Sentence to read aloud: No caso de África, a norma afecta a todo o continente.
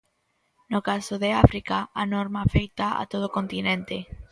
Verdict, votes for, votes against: rejected, 0, 2